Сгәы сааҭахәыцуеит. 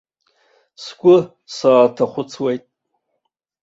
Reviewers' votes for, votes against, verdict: 2, 0, accepted